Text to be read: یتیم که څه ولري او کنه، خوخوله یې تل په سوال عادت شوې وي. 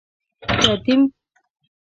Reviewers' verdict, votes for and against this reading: rejected, 0, 2